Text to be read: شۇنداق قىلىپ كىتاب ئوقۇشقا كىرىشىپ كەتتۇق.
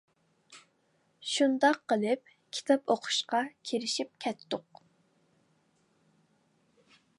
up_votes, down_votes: 2, 0